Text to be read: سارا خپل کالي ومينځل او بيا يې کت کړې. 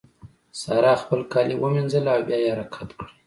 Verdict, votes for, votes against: accepted, 2, 1